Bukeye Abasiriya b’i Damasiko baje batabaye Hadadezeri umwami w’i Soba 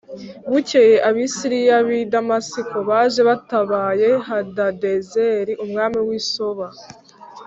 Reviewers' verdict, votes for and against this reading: accepted, 2, 0